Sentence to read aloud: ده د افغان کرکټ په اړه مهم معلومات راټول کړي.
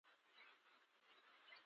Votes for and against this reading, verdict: 0, 2, rejected